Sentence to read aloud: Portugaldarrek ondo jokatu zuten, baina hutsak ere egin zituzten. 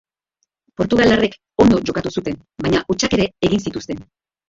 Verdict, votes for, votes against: rejected, 1, 2